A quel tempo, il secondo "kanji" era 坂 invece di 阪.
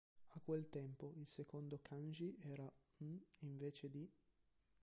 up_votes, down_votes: 1, 2